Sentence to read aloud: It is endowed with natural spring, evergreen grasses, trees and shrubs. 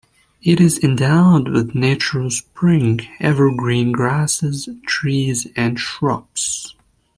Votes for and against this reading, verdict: 2, 0, accepted